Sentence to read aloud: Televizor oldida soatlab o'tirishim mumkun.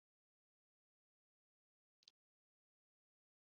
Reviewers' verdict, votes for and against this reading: rejected, 0, 2